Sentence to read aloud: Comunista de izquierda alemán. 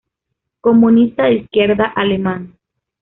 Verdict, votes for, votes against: accepted, 2, 0